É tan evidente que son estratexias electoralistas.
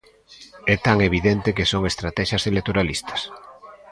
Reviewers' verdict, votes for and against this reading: accepted, 3, 0